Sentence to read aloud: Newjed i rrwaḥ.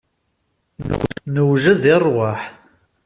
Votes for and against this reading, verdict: 2, 1, accepted